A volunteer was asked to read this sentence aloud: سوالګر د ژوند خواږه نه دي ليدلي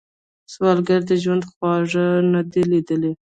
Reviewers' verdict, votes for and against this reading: rejected, 0, 2